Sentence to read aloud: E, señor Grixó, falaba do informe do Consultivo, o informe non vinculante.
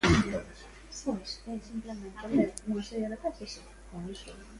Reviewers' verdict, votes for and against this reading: rejected, 0, 2